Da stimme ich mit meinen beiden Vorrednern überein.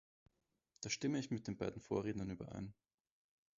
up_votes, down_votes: 0, 2